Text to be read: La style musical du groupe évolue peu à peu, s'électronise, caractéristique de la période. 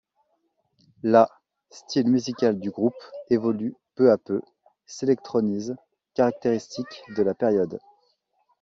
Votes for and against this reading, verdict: 2, 0, accepted